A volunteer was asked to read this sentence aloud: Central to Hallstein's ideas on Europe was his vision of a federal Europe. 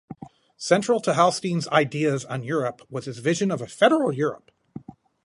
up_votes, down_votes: 2, 2